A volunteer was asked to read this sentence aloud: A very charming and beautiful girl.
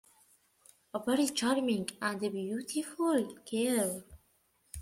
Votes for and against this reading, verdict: 2, 0, accepted